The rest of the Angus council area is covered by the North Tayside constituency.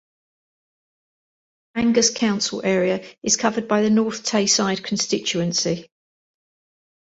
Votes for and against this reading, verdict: 0, 2, rejected